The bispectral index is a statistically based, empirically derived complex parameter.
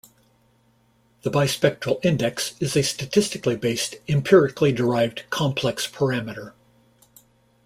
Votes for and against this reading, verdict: 2, 0, accepted